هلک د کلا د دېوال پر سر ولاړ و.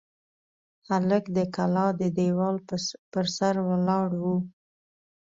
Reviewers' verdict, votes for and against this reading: accepted, 2, 0